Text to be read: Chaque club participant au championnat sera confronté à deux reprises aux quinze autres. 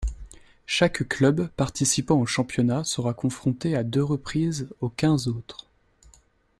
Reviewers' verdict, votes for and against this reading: accepted, 2, 0